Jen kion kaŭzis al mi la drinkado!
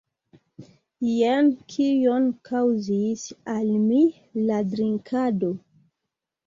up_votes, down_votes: 1, 2